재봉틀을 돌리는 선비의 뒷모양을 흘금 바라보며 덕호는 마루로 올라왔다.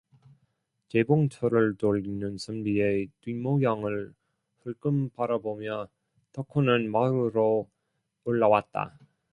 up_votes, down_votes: 0, 2